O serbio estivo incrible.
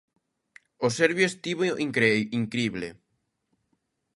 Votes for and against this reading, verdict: 0, 2, rejected